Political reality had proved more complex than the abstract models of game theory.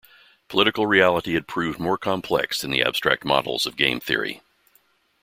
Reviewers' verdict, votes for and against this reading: accepted, 2, 0